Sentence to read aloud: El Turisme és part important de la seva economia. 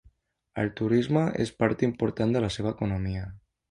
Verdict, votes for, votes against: accepted, 2, 0